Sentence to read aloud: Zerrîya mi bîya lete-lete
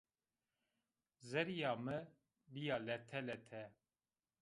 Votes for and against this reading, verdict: 2, 0, accepted